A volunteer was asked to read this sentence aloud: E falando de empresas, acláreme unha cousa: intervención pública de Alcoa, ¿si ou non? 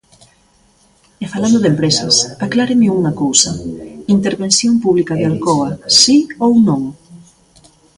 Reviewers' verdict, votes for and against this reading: rejected, 0, 2